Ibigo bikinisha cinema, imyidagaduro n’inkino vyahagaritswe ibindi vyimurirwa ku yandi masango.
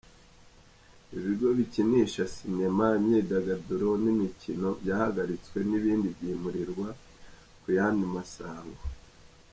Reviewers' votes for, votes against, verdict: 2, 0, accepted